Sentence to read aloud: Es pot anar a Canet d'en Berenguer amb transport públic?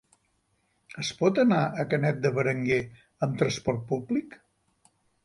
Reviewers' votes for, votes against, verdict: 2, 3, rejected